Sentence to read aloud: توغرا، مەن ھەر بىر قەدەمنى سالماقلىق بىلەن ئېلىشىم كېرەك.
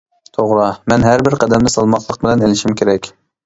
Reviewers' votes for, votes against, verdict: 2, 0, accepted